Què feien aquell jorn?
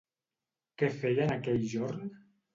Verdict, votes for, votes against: accepted, 2, 0